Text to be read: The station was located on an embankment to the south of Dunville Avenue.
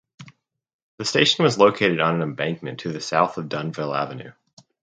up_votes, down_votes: 4, 0